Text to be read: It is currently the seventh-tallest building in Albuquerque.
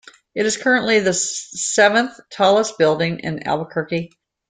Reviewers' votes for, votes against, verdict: 0, 2, rejected